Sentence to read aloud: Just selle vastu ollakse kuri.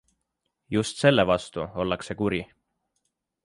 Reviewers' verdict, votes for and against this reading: accepted, 2, 0